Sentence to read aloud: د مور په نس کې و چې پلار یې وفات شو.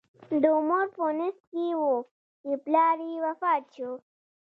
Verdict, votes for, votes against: rejected, 1, 2